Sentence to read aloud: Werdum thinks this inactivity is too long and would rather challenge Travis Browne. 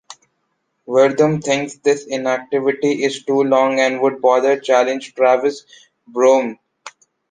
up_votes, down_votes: 2, 0